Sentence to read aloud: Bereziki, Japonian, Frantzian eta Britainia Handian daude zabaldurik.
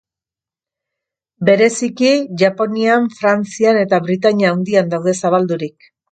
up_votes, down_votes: 2, 0